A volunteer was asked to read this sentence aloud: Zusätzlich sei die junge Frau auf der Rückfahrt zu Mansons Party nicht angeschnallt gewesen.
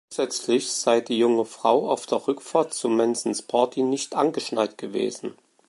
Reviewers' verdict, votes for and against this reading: rejected, 1, 2